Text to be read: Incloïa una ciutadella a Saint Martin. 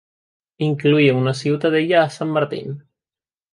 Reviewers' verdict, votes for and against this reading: rejected, 0, 2